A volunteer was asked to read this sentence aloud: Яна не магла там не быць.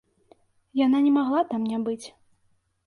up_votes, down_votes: 2, 0